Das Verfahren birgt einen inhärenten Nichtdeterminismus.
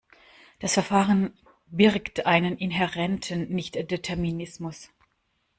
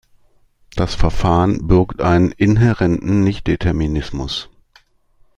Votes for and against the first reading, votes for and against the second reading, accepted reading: 0, 2, 2, 0, second